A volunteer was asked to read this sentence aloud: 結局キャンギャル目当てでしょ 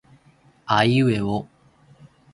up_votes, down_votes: 0, 2